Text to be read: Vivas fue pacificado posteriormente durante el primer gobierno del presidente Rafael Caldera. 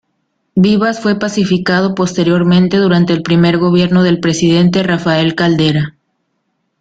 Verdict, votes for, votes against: accepted, 2, 0